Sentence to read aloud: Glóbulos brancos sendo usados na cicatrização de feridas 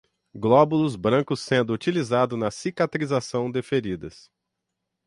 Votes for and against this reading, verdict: 0, 6, rejected